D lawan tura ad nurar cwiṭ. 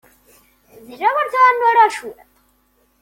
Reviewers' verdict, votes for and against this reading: accepted, 2, 0